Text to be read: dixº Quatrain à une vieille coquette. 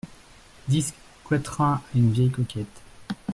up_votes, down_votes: 1, 2